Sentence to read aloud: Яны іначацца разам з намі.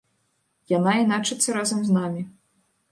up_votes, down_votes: 1, 2